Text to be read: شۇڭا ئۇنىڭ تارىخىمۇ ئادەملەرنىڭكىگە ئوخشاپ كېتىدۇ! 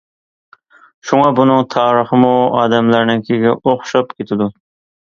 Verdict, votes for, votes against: accepted, 2, 0